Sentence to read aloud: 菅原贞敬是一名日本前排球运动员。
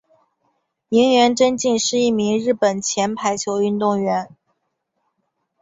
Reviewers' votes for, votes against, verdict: 1, 3, rejected